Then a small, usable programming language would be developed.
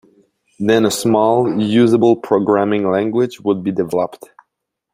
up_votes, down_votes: 2, 0